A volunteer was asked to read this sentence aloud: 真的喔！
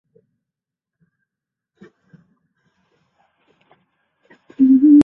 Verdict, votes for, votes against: rejected, 0, 3